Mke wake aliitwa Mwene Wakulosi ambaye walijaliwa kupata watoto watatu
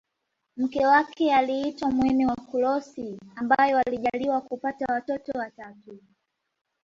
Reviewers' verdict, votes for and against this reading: accepted, 2, 0